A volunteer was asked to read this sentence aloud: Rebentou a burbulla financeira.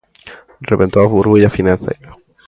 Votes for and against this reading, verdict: 2, 1, accepted